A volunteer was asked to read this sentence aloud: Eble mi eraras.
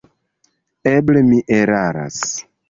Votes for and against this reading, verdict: 2, 0, accepted